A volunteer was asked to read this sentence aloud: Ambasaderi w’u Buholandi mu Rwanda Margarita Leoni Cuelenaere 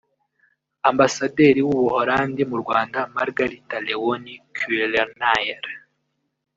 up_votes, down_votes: 0, 2